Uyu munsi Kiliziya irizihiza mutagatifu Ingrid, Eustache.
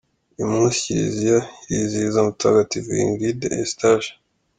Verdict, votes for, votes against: accepted, 2, 1